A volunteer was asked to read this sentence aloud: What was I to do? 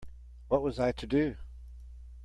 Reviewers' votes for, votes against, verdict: 2, 0, accepted